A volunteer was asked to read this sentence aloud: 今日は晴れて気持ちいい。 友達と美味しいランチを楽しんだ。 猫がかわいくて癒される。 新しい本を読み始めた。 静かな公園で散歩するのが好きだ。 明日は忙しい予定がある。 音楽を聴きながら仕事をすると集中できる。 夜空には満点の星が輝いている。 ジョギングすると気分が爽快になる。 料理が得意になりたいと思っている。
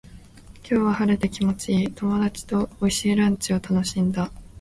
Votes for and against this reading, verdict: 3, 0, accepted